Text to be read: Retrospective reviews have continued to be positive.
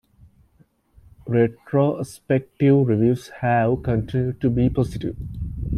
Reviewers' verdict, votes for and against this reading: accepted, 2, 0